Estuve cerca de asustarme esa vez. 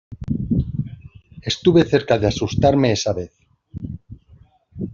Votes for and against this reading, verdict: 2, 0, accepted